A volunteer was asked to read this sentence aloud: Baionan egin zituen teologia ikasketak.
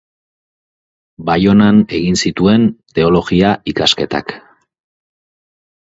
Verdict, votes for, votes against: accepted, 4, 0